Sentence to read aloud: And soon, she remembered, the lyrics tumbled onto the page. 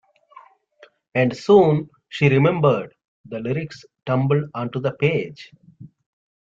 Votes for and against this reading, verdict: 2, 0, accepted